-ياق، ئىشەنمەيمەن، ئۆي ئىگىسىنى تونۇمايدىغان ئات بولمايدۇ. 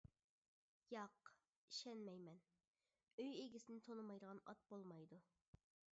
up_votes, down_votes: 2, 0